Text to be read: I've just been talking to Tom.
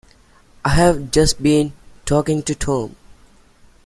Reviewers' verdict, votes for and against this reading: accepted, 2, 1